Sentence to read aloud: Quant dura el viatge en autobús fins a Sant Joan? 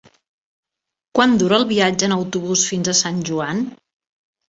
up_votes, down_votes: 3, 0